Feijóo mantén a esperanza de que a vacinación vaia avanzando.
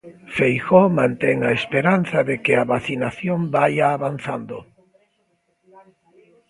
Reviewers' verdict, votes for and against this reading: rejected, 0, 2